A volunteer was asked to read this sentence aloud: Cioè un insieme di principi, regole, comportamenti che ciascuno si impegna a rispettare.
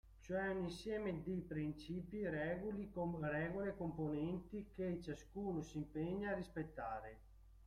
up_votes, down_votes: 0, 2